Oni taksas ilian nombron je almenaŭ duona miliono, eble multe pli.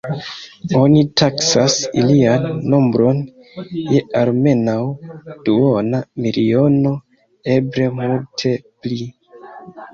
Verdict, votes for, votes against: rejected, 0, 2